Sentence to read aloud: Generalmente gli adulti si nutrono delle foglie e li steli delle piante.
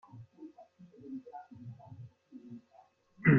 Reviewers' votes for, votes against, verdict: 0, 2, rejected